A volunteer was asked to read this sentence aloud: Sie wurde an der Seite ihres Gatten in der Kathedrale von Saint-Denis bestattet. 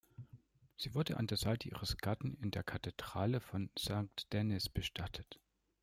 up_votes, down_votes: 1, 2